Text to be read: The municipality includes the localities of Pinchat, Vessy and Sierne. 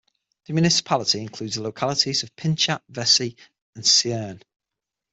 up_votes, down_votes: 6, 0